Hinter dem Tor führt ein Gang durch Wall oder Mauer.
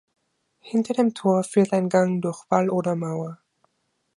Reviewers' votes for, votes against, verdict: 2, 0, accepted